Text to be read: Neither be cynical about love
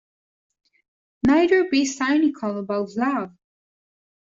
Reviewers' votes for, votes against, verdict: 0, 2, rejected